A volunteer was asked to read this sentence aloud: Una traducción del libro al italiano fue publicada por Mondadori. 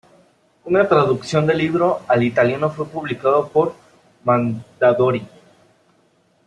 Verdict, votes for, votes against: rejected, 0, 2